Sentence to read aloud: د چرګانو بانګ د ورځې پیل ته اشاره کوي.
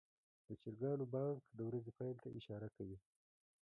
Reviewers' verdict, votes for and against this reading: rejected, 1, 2